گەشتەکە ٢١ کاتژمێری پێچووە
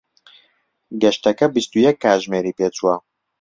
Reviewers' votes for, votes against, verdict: 0, 2, rejected